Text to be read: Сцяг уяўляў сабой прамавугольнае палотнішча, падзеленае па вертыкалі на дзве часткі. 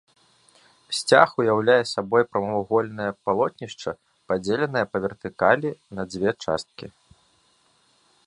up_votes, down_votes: 0, 2